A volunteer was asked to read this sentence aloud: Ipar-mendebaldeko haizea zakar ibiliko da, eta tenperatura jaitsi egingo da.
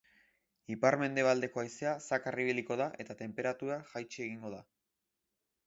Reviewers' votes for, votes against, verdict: 2, 0, accepted